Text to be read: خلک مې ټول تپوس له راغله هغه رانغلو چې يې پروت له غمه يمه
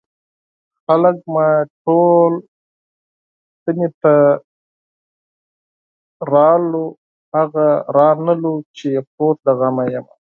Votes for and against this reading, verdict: 0, 4, rejected